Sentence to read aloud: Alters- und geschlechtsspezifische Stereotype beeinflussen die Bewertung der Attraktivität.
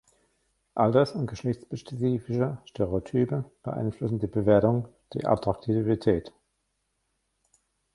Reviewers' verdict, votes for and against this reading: rejected, 0, 2